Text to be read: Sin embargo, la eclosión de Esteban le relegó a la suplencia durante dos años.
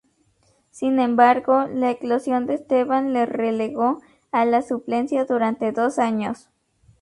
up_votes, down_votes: 2, 0